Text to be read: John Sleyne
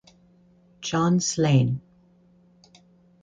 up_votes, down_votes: 2, 0